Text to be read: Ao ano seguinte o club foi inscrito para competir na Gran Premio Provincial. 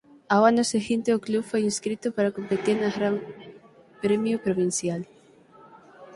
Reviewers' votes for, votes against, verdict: 3, 6, rejected